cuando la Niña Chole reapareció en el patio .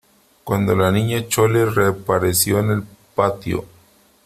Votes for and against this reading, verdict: 3, 0, accepted